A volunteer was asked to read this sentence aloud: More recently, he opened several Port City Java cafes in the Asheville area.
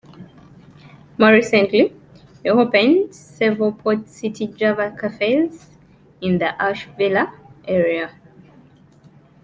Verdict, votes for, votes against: rejected, 0, 2